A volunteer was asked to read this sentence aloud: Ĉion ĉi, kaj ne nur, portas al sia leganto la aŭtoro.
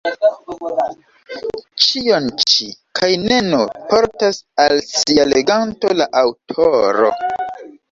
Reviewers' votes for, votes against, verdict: 1, 2, rejected